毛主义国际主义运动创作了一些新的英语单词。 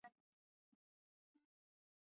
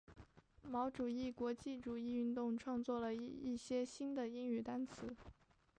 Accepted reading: second